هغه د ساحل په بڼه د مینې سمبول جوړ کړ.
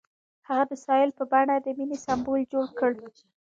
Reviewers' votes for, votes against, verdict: 2, 0, accepted